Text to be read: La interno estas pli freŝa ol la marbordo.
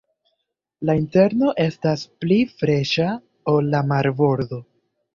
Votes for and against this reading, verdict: 2, 1, accepted